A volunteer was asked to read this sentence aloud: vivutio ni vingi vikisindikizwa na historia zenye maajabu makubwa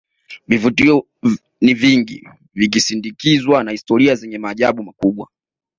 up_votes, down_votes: 3, 0